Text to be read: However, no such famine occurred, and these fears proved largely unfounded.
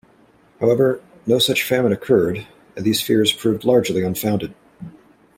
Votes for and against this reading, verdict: 1, 2, rejected